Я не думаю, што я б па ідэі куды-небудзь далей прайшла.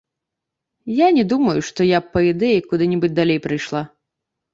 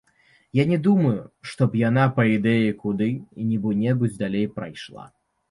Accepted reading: first